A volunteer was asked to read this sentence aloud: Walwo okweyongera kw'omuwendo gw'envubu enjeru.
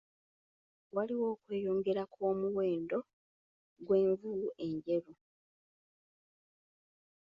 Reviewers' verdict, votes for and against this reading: accepted, 2, 1